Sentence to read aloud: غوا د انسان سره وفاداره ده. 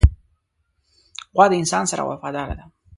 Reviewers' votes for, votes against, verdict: 2, 0, accepted